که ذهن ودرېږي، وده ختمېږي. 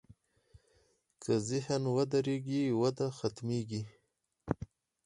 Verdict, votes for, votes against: rejected, 0, 4